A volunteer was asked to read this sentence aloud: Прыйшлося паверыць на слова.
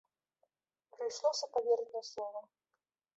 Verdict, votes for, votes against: rejected, 1, 2